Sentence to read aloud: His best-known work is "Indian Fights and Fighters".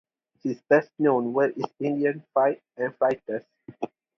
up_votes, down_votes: 2, 0